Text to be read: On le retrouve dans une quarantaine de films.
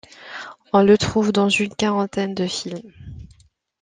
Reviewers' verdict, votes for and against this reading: accepted, 2, 1